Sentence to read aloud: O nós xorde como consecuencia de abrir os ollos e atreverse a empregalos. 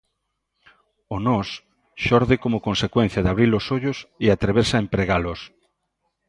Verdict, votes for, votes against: accepted, 2, 0